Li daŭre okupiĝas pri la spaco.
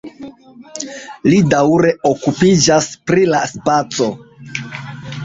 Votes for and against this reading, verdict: 1, 2, rejected